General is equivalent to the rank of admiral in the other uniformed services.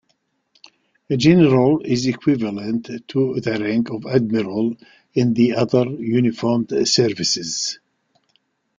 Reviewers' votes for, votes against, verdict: 3, 0, accepted